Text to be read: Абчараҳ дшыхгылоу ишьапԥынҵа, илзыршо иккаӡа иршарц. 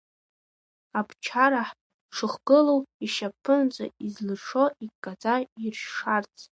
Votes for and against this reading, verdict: 0, 2, rejected